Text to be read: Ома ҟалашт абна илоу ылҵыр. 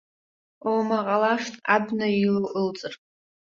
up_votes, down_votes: 2, 0